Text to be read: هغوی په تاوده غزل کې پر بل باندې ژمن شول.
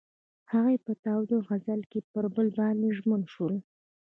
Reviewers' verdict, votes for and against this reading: accepted, 2, 1